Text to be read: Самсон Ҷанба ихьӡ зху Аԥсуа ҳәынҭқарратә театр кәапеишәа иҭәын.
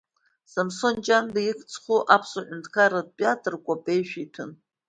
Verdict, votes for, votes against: accepted, 2, 0